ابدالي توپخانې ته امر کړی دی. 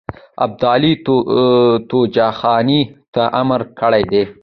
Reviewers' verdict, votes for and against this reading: accepted, 2, 1